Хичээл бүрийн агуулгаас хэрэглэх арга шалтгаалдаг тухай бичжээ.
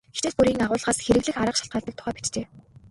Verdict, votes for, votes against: rejected, 0, 2